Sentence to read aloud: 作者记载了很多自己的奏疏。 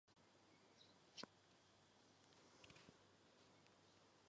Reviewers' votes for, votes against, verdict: 2, 5, rejected